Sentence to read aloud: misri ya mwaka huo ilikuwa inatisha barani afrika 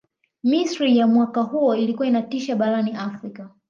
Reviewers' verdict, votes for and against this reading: rejected, 0, 2